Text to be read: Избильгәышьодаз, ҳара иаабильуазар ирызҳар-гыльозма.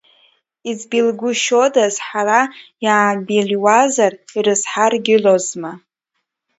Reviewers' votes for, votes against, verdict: 1, 2, rejected